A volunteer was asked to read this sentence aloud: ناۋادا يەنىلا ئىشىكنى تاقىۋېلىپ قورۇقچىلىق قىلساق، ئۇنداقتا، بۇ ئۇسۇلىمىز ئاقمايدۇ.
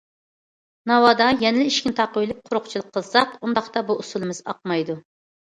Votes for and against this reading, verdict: 2, 0, accepted